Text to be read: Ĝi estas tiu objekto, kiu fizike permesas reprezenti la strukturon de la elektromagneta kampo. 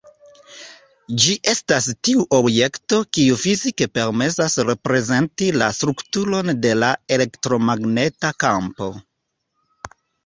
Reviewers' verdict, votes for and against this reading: accepted, 2, 0